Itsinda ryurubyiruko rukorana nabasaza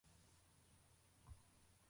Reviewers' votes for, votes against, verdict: 0, 2, rejected